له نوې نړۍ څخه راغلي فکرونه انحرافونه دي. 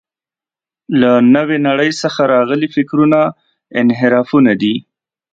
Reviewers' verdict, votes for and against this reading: accepted, 2, 0